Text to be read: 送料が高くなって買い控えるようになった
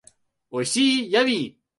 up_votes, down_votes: 0, 2